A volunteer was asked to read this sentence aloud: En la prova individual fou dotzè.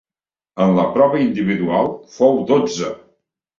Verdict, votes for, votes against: rejected, 1, 2